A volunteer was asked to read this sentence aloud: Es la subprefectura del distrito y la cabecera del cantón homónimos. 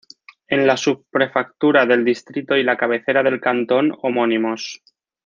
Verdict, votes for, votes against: rejected, 0, 2